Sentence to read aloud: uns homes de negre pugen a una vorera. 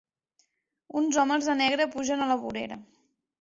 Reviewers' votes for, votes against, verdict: 2, 4, rejected